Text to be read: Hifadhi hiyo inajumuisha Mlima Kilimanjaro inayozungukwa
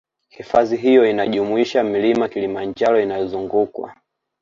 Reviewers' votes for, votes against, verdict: 2, 0, accepted